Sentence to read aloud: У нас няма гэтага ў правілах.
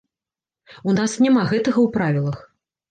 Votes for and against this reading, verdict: 2, 0, accepted